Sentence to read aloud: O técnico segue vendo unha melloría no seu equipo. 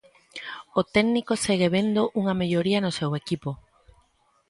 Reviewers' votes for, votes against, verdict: 2, 0, accepted